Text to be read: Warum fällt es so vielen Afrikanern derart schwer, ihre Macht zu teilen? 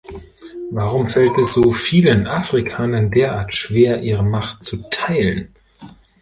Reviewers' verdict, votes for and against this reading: rejected, 1, 2